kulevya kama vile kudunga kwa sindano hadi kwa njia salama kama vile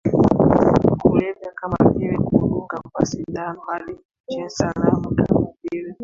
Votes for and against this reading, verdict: 0, 2, rejected